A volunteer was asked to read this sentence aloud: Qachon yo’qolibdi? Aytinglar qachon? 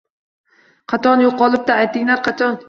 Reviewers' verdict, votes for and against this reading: rejected, 0, 2